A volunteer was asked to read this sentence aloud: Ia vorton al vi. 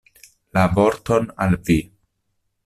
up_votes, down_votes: 0, 2